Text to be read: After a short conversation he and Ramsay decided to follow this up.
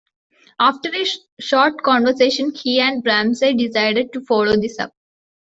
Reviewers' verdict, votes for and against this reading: accepted, 2, 1